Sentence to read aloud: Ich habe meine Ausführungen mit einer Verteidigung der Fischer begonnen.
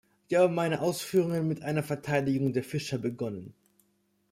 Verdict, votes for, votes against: rejected, 1, 2